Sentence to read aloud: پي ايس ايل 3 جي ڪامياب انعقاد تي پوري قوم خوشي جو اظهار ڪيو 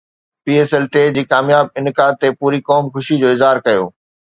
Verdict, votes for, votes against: rejected, 0, 2